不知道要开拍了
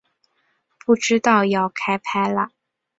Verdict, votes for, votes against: accepted, 6, 0